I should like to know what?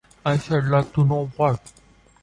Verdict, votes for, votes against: accepted, 2, 0